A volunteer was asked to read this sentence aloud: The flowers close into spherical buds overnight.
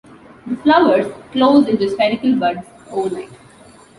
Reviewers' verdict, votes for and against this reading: accepted, 2, 0